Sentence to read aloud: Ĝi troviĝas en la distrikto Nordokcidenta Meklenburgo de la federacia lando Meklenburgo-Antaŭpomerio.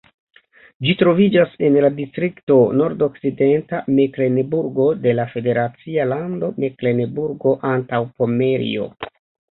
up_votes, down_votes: 1, 2